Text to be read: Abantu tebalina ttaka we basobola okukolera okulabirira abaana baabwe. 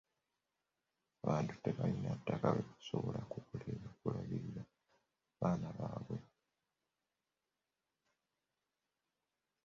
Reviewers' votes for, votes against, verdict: 0, 2, rejected